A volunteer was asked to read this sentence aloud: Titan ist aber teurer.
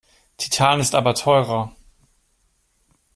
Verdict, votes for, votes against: accepted, 2, 0